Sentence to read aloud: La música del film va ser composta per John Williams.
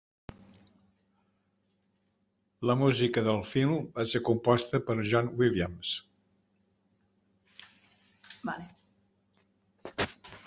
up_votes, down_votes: 0, 8